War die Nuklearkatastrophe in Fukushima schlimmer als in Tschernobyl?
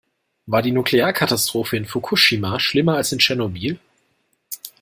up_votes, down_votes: 2, 0